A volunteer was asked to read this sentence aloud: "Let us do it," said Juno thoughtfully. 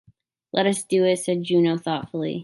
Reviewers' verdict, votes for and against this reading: accepted, 2, 0